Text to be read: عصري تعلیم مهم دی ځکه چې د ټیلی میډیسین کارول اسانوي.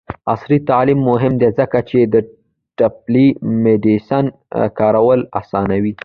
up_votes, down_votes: 1, 2